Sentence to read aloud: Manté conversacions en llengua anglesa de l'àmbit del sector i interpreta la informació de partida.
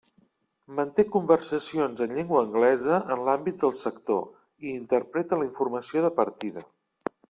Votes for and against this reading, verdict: 0, 2, rejected